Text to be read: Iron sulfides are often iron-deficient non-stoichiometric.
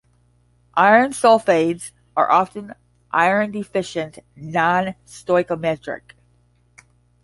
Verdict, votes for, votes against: rejected, 5, 10